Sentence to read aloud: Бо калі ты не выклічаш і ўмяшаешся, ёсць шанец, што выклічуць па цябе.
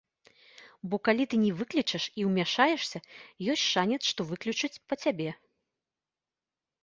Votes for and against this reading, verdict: 2, 1, accepted